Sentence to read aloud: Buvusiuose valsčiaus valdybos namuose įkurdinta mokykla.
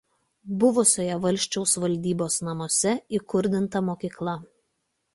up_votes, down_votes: 2, 0